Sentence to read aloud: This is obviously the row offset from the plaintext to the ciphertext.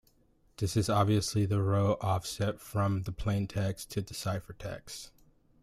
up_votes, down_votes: 2, 0